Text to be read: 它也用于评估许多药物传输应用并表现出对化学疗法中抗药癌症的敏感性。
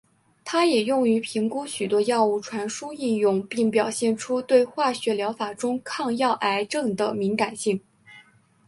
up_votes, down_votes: 2, 0